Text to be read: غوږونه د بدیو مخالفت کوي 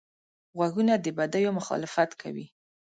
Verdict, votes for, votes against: accepted, 2, 0